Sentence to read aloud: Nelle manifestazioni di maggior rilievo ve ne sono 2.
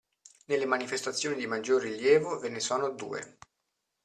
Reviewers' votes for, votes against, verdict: 0, 2, rejected